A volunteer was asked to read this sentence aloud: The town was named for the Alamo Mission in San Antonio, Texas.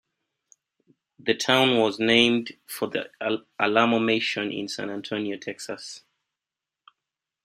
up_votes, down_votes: 1, 2